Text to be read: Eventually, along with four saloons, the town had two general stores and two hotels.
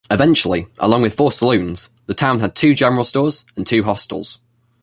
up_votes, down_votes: 1, 2